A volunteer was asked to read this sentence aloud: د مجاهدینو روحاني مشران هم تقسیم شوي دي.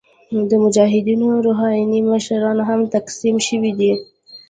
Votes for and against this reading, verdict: 0, 2, rejected